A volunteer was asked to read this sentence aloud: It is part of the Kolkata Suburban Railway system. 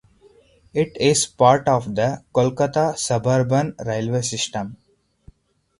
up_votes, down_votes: 2, 2